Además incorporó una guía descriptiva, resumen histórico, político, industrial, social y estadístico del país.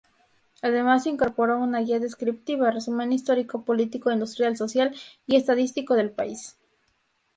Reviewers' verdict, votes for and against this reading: rejected, 2, 2